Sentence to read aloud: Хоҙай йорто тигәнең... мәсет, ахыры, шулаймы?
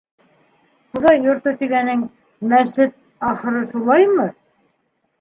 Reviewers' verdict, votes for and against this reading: rejected, 0, 2